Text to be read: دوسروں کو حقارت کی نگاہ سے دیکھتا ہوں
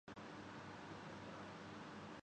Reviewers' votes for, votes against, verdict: 1, 2, rejected